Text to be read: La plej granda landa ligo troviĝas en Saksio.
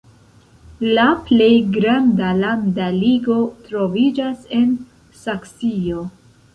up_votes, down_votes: 1, 2